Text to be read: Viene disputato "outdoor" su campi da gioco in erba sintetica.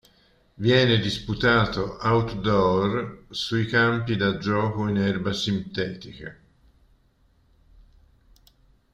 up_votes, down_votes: 1, 2